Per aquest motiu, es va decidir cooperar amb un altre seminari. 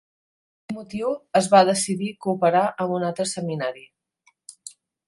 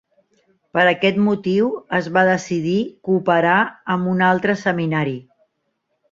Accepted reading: second